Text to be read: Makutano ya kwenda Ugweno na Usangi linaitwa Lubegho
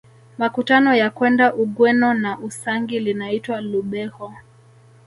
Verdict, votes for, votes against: rejected, 1, 2